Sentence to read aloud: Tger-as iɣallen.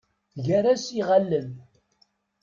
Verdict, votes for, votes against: rejected, 1, 2